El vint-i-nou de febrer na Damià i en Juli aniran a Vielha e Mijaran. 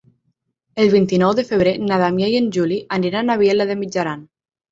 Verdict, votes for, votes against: rejected, 3, 6